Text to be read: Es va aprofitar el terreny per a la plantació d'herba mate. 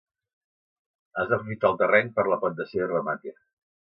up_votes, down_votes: 1, 2